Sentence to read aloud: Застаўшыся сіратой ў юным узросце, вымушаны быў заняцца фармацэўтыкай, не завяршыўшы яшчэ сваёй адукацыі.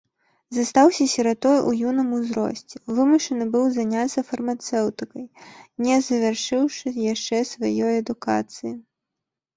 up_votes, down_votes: 1, 2